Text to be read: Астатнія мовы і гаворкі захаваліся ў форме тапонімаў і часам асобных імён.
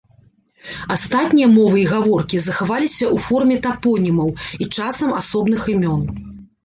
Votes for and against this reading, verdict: 2, 0, accepted